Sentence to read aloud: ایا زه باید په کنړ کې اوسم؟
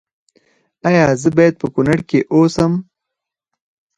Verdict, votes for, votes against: accepted, 4, 2